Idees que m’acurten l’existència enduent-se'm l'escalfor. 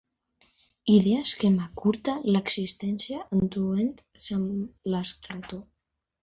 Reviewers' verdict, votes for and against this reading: rejected, 0, 2